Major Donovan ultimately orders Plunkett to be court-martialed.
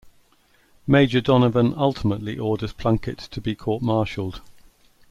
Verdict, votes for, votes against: accepted, 2, 0